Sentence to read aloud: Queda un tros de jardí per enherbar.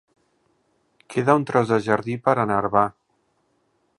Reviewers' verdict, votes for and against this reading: accepted, 2, 0